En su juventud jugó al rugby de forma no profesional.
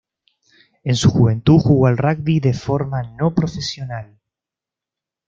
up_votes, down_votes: 2, 0